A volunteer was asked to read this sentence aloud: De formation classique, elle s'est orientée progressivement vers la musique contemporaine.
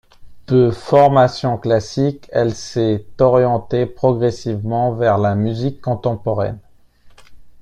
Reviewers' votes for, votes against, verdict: 2, 0, accepted